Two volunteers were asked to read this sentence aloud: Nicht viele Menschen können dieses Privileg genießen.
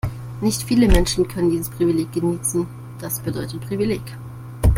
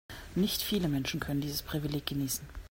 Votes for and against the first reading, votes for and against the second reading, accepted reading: 1, 2, 2, 0, second